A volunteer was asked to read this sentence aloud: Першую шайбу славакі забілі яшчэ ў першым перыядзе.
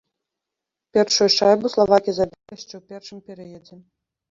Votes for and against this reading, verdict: 0, 2, rejected